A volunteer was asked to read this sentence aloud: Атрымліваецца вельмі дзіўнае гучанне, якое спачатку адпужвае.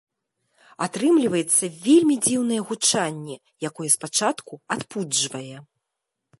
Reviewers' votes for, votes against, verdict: 1, 2, rejected